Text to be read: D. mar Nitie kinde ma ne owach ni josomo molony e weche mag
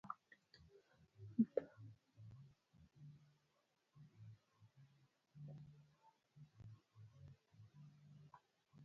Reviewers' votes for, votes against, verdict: 0, 2, rejected